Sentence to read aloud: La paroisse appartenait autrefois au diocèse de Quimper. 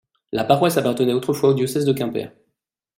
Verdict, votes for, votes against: accepted, 2, 0